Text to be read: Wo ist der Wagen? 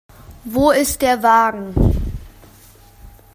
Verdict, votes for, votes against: accepted, 2, 0